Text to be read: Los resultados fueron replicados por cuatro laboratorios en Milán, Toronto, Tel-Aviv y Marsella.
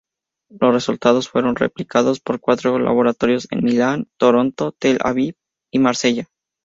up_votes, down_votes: 2, 0